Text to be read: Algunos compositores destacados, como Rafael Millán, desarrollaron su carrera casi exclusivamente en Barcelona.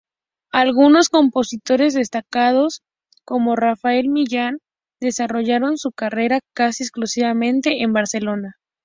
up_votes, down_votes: 2, 0